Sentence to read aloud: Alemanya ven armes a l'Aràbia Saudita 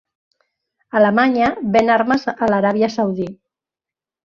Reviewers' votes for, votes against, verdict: 1, 5, rejected